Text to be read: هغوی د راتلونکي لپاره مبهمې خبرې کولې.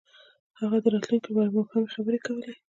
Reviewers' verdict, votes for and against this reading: accepted, 2, 0